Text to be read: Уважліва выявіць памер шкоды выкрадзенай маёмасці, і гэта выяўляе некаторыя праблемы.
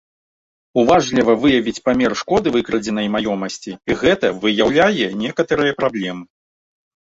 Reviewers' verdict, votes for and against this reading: rejected, 0, 2